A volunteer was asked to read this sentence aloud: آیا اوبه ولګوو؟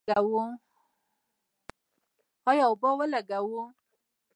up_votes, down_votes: 2, 1